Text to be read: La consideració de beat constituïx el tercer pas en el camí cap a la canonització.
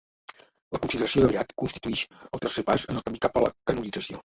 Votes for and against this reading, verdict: 1, 2, rejected